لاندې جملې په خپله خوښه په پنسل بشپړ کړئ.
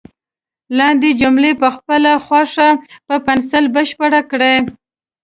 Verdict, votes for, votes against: accepted, 2, 0